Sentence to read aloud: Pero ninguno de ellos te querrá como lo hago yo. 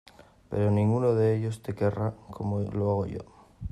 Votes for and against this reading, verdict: 2, 1, accepted